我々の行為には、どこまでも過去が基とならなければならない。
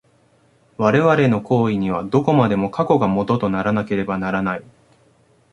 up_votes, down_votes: 1, 2